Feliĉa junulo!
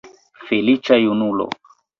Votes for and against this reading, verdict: 0, 2, rejected